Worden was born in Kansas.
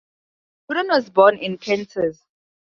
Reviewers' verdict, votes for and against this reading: rejected, 0, 2